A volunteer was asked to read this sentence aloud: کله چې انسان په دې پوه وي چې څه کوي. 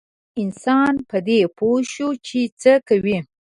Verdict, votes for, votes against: rejected, 1, 2